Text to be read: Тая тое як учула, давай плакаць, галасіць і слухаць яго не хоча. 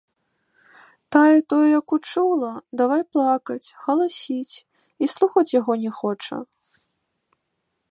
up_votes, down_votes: 2, 0